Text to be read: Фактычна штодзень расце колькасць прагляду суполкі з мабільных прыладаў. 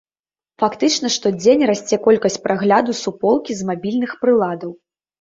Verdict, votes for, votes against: accepted, 2, 0